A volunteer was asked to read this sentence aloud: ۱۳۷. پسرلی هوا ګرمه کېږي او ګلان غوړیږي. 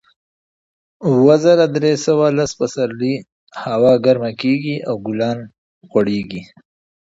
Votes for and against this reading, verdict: 0, 2, rejected